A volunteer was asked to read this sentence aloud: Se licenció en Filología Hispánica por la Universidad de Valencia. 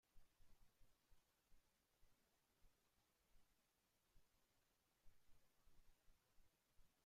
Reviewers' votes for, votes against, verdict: 0, 2, rejected